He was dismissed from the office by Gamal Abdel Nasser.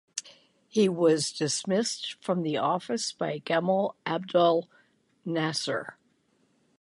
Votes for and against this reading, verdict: 9, 0, accepted